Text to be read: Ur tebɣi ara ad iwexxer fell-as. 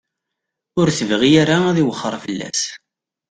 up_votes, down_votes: 2, 0